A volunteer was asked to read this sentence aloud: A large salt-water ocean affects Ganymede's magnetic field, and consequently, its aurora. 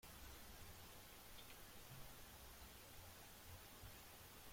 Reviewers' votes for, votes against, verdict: 0, 3, rejected